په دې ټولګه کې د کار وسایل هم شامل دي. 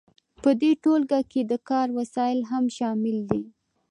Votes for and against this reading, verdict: 2, 0, accepted